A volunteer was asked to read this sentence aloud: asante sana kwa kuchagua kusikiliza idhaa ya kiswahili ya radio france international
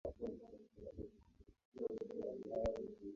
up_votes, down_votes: 0, 4